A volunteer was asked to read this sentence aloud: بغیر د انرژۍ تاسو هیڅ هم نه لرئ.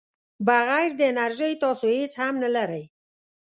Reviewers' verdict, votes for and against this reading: accepted, 2, 0